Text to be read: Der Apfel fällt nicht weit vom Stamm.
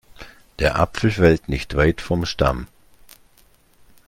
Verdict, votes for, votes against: accepted, 2, 0